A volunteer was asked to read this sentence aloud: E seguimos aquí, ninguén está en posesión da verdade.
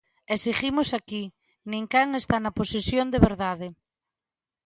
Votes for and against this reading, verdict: 0, 2, rejected